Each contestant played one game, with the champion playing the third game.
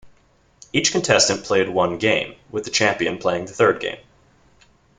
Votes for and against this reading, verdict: 2, 0, accepted